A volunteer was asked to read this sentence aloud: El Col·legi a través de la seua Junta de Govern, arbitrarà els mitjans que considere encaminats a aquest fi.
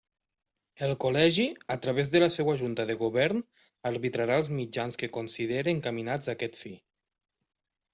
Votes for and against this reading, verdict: 2, 0, accepted